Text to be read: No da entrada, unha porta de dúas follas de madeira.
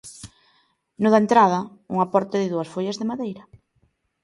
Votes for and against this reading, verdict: 2, 0, accepted